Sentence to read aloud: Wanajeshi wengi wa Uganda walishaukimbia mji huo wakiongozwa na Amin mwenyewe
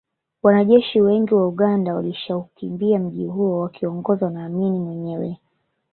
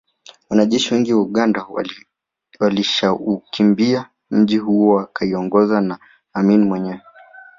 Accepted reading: second